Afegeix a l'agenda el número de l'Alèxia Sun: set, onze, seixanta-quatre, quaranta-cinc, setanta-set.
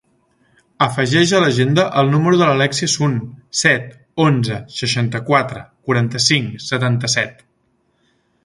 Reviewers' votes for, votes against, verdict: 2, 0, accepted